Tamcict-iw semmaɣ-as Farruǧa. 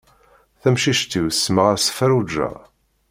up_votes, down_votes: 2, 0